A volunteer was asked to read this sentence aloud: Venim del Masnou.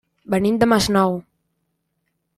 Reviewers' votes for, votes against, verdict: 0, 2, rejected